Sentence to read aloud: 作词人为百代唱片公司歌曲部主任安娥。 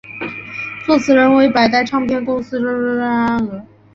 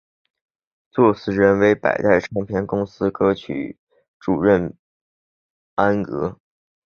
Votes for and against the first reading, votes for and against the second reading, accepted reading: 0, 2, 3, 1, second